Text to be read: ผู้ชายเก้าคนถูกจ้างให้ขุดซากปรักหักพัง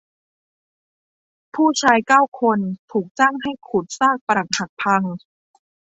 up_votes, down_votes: 2, 0